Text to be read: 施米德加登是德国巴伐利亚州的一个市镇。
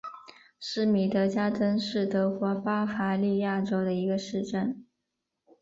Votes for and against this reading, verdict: 3, 0, accepted